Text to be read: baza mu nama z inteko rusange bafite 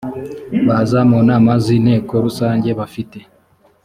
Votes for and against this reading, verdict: 3, 0, accepted